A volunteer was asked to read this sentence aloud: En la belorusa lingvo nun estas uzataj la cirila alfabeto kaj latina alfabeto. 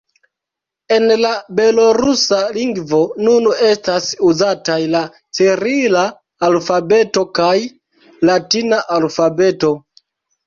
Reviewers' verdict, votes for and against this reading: rejected, 0, 2